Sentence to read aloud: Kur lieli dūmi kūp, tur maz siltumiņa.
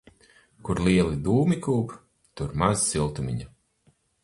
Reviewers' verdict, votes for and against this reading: accepted, 8, 0